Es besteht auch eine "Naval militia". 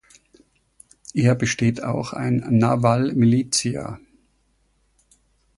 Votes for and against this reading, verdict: 0, 2, rejected